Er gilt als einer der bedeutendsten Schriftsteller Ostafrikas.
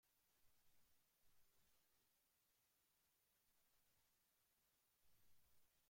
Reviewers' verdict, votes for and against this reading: rejected, 0, 2